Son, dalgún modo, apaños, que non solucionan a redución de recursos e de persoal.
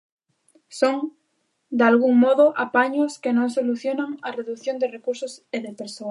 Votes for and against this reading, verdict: 0, 2, rejected